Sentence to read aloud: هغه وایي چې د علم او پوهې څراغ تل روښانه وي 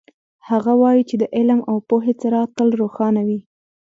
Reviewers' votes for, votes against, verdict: 1, 2, rejected